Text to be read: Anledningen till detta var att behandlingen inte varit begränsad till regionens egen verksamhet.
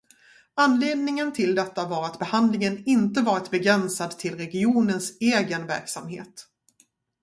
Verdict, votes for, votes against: accepted, 2, 0